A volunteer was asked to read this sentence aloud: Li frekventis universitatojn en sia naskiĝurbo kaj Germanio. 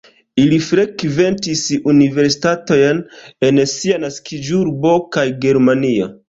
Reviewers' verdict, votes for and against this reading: rejected, 0, 2